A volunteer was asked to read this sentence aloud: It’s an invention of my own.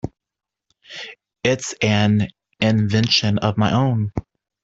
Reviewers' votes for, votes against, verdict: 2, 0, accepted